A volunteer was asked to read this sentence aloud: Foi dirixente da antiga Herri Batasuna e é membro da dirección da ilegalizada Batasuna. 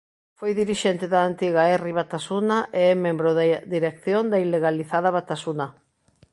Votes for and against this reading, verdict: 1, 2, rejected